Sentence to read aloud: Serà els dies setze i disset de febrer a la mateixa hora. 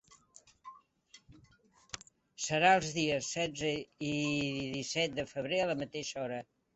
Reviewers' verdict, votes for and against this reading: accepted, 3, 0